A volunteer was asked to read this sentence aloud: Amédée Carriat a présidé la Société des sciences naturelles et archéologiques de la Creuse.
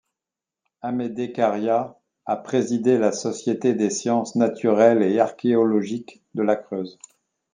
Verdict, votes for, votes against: accepted, 2, 0